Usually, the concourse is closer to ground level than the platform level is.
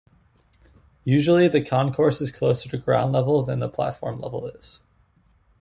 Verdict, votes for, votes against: accepted, 2, 0